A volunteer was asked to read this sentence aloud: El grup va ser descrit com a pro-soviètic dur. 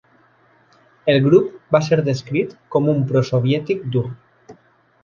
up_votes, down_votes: 1, 2